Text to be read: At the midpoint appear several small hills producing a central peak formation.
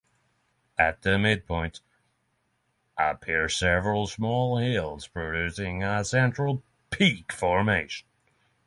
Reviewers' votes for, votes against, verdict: 6, 0, accepted